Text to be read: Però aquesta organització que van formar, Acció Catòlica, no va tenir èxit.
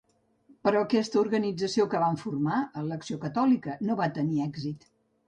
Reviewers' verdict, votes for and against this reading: rejected, 1, 2